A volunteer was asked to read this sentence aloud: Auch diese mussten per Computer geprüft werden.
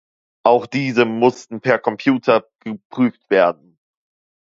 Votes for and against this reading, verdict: 1, 2, rejected